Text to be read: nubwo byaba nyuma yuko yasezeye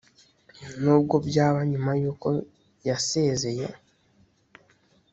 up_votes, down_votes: 2, 0